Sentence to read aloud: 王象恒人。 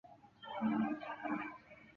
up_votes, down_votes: 1, 2